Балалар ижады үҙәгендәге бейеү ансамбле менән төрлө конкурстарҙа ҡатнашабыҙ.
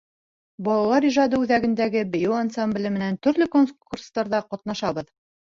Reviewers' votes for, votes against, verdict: 4, 1, accepted